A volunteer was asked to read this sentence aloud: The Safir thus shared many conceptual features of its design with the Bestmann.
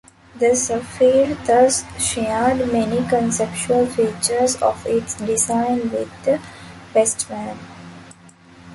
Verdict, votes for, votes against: accepted, 2, 0